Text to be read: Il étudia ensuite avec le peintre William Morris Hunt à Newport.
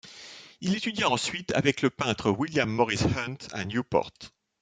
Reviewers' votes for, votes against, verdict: 2, 0, accepted